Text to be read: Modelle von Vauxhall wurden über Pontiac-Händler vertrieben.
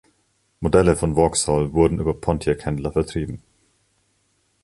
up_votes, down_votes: 2, 0